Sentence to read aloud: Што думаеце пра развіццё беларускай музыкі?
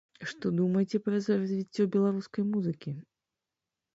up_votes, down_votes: 0, 2